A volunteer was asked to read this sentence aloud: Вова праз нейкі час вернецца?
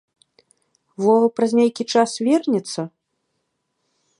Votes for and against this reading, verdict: 0, 2, rejected